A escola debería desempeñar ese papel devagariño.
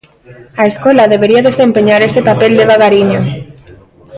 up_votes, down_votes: 2, 1